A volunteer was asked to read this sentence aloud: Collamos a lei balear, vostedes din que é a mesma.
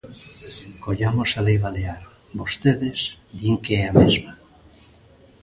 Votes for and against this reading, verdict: 1, 2, rejected